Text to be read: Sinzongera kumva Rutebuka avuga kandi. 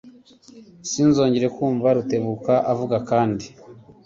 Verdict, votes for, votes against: rejected, 1, 2